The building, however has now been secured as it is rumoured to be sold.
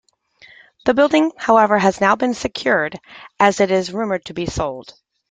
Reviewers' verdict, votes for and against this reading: accepted, 2, 0